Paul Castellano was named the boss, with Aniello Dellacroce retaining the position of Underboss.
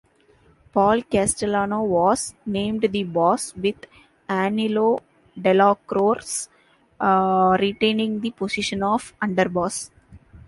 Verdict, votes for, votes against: rejected, 0, 2